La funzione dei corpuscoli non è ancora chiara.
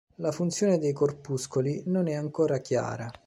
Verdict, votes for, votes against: accepted, 2, 0